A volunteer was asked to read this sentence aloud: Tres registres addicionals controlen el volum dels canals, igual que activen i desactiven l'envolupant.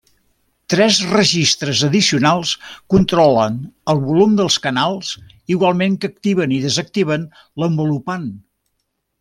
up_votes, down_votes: 1, 2